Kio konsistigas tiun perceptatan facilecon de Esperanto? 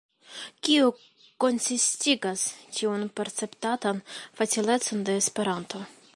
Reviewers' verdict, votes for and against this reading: accepted, 2, 0